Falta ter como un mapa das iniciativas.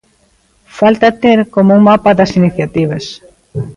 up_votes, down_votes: 2, 0